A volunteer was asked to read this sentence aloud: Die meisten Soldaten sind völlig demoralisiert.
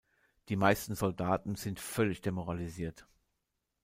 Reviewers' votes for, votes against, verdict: 2, 0, accepted